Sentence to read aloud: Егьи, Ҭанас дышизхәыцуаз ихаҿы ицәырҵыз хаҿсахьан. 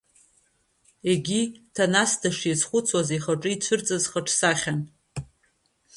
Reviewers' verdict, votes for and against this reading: rejected, 1, 2